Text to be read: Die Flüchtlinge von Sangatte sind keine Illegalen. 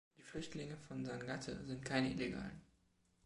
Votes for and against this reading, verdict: 1, 2, rejected